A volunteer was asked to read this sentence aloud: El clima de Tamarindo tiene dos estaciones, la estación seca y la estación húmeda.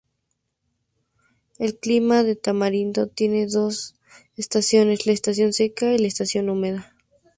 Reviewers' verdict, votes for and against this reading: accepted, 2, 0